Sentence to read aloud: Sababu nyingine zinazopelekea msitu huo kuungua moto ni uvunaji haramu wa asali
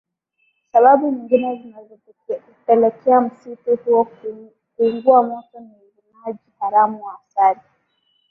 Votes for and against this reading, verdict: 0, 2, rejected